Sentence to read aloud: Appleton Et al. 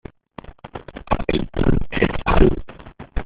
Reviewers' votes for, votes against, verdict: 0, 2, rejected